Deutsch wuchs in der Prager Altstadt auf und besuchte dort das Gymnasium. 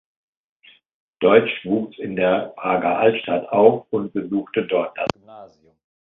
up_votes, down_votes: 1, 2